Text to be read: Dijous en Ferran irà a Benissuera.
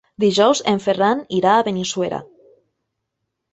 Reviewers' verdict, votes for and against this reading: accepted, 5, 0